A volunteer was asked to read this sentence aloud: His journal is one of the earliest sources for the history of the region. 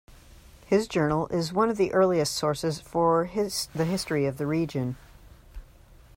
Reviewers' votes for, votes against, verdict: 0, 2, rejected